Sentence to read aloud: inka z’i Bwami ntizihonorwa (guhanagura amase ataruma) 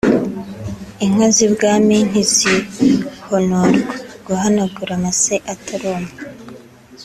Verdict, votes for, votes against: accepted, 2, 0